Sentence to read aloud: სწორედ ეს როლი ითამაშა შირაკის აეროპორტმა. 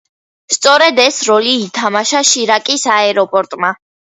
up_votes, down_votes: 2, 0